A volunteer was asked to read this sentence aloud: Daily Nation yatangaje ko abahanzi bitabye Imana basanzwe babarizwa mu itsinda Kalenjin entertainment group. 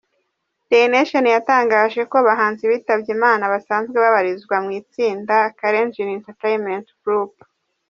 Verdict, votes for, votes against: accepted, 2, 0